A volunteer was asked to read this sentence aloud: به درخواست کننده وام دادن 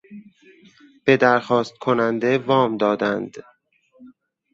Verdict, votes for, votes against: rejected, 2, 2